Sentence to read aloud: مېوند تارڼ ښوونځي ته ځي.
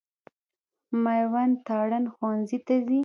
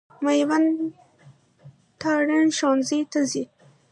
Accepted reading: second